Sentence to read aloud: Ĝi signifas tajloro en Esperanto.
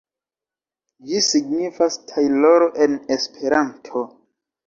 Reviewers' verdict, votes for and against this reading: rejected, 1, 2